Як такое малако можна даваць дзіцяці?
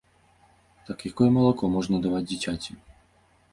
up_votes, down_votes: 0, 2